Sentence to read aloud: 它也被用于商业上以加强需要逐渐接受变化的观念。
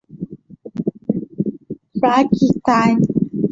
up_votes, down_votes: 0, 6